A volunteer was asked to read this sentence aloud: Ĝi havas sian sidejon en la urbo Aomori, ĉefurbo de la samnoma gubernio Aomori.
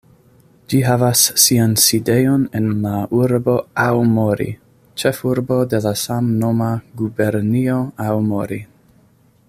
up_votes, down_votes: 1, 2